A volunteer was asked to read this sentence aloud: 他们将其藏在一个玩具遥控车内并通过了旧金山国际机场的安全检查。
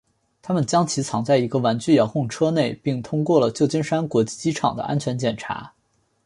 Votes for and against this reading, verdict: 2, 0, accepted